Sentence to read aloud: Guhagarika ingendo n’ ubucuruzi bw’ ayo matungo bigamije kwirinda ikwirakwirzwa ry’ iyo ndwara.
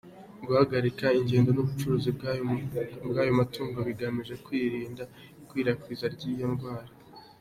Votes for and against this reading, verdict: 2, 1, accepted